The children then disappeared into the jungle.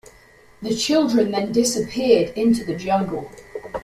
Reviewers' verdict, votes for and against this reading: accepted, 2, 0